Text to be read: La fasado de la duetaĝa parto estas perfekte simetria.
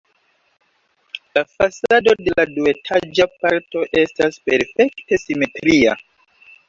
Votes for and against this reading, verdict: 2, 3, rejected